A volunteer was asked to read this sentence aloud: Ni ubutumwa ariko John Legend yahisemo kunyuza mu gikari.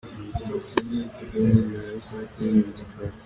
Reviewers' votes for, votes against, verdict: 1, 2, rejected